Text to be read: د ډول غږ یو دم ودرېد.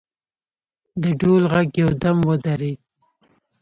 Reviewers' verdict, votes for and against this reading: accepted, 2, 0